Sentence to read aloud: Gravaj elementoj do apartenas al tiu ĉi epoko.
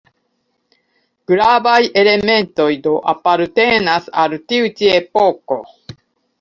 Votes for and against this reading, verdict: 2, 0, accepted